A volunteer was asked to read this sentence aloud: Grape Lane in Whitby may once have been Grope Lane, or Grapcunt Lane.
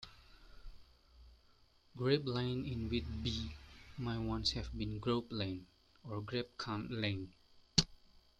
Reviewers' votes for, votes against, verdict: 2, 0, accepted